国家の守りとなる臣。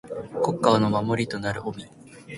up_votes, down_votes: 2, 0